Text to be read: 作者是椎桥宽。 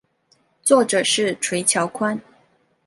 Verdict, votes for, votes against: accepted, 2, 1